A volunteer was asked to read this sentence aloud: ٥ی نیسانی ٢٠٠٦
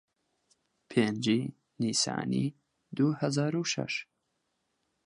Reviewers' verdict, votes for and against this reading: rejected, 0, 2